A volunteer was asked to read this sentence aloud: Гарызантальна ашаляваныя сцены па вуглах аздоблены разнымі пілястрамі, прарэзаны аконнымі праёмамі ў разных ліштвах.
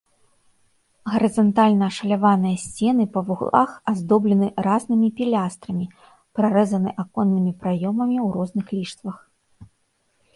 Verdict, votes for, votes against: rejected, 1, 2